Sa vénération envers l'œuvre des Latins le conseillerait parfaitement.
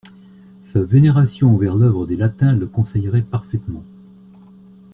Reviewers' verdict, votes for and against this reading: accepted, 2, 0